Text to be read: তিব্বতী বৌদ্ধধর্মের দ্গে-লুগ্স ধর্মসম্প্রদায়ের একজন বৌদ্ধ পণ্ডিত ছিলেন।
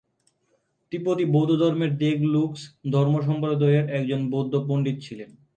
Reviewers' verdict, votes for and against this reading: accepted, 3, 0